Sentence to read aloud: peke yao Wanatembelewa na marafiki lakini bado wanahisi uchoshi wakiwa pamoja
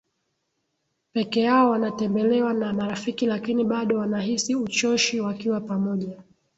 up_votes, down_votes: 1, 2